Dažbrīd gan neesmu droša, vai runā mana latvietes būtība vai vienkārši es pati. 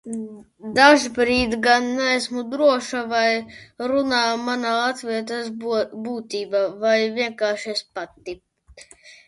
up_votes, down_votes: 0, 2